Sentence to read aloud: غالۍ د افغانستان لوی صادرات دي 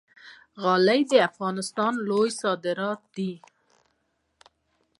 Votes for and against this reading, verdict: 2, 0, accepted